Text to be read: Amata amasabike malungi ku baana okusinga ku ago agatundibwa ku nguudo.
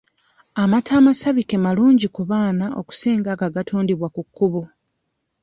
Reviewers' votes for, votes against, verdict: 0, 2, rejected